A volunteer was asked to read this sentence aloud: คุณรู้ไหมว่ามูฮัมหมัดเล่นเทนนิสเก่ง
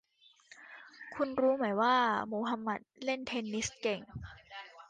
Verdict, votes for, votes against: rejected, 0, 2